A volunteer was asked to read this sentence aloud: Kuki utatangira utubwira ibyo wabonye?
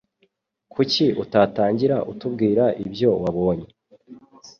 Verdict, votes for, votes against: accepted, 2, 0